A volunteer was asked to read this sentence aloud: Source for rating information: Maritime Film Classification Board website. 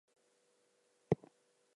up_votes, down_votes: 2, 2